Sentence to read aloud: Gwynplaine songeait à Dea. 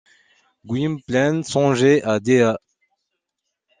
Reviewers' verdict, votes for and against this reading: accepted, 2, 0